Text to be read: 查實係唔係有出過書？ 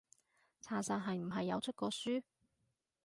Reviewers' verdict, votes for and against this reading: accepted, 2, 0